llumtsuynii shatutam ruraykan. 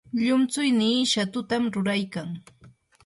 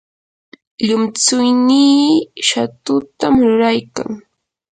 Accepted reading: second